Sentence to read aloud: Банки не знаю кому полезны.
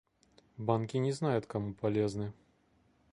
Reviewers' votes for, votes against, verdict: 1, 2, rejected